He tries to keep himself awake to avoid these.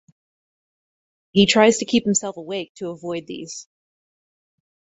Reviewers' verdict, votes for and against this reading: accepted, 4, 0